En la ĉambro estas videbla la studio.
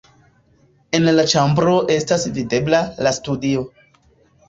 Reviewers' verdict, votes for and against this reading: rejected, 1, 2